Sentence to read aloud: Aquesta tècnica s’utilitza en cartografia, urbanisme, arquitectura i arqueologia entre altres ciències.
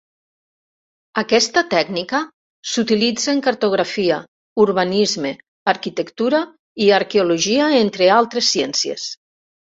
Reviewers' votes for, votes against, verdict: 3, 0, accepted